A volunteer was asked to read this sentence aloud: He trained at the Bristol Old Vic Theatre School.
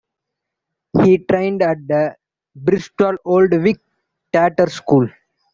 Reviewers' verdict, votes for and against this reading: accepted, 2, 1